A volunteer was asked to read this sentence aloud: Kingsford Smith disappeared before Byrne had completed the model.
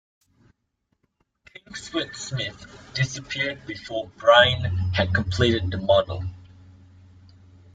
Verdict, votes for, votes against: rejected, 0, 2